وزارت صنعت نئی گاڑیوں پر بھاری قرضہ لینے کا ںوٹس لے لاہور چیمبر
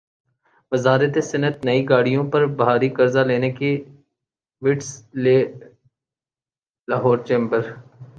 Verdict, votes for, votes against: rejected, 1, 2